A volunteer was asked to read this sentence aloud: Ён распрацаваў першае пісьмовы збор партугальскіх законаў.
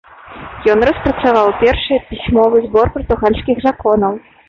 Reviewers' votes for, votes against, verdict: 1, 2, rejected